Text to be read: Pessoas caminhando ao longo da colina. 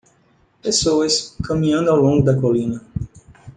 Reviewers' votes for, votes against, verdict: 2, 1, accepted